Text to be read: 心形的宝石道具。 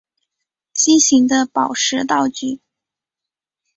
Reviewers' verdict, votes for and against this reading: accepted, 4, 0